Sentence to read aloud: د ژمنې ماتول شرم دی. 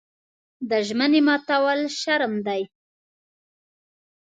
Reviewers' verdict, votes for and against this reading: accepted, 2, 0